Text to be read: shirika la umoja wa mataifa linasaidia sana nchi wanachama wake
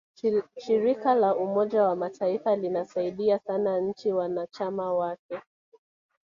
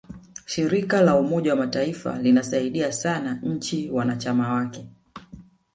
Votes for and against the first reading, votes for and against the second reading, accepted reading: 2, 0, 1, 2, first